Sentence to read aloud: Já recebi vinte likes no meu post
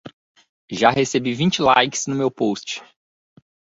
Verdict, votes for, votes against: accepted, 2, 0